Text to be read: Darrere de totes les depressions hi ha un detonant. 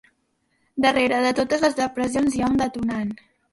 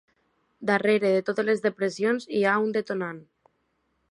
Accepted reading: second